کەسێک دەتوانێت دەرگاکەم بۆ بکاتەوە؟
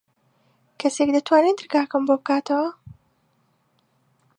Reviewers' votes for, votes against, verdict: 3, 0, accepted